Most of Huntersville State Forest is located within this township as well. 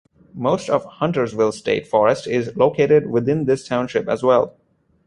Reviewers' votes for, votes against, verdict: 2, 0, accepted